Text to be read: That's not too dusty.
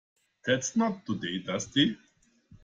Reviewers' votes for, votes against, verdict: 0, 3, rejected